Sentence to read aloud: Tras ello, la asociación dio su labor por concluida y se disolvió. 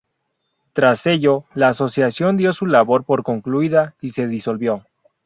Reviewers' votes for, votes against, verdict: 4, 0, accepted